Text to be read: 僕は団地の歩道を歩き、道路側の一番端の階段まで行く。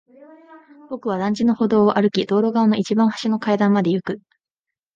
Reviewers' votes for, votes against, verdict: 3, 0, accepted